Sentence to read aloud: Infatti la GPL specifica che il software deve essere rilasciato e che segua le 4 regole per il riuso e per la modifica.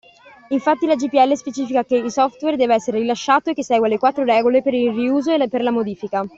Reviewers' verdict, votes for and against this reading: rejected, 0, 2